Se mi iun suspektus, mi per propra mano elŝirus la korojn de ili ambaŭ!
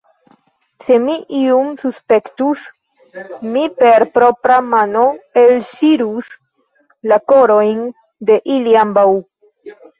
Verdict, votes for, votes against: accepted, 3, 0